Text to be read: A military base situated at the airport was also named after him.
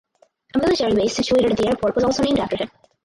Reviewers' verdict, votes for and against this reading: rejected, 0, 4